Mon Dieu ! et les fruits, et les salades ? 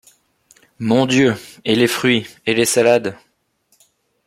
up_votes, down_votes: 2, 0